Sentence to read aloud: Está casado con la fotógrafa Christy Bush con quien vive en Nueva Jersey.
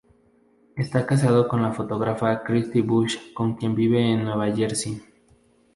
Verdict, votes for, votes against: rejected, 0, 2